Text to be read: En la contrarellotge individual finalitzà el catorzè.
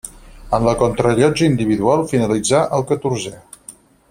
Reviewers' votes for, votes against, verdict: 4, 2, accepted